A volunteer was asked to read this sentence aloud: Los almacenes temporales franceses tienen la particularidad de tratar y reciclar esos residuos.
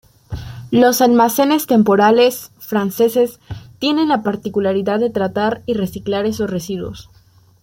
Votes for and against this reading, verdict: 2, 0, accepted